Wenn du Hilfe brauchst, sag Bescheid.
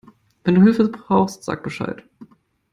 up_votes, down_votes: 2, 0